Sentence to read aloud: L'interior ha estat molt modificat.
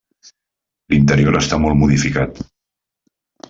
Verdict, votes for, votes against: rejected, 0, 2